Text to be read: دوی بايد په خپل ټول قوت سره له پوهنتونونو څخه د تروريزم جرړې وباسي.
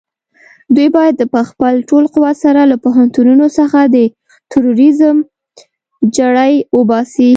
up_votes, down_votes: 1, 2